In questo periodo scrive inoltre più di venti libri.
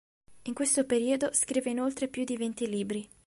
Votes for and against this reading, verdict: 2, 0, accepted